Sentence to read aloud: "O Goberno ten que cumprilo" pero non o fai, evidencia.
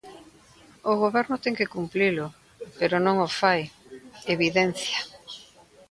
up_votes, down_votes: 0, 2